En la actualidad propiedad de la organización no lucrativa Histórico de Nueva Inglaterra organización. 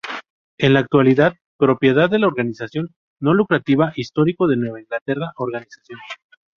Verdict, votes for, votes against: rejected, 0, 2